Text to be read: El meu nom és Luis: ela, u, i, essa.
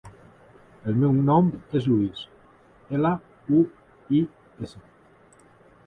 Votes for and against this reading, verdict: 2, 0, accepted